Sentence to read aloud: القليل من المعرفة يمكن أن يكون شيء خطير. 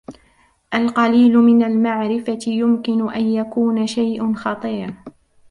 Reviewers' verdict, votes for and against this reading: rejected, 1, 2